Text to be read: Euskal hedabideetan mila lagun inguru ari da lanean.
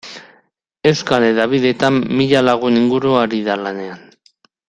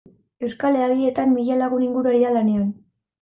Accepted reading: first